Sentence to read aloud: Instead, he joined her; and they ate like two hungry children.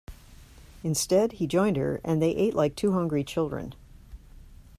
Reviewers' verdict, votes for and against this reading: accepted, 2, 0